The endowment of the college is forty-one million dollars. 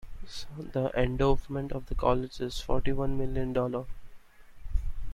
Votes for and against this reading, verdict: 2, 1, accepted